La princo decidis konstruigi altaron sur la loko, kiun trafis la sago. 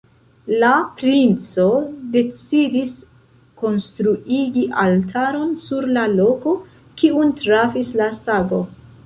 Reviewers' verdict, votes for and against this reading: rejected, 1, 2